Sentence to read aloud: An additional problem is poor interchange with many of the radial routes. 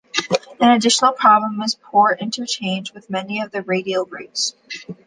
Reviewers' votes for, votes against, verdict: 2, 0, accepted